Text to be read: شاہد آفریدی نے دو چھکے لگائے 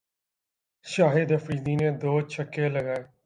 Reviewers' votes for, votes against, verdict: 4, 0, accepted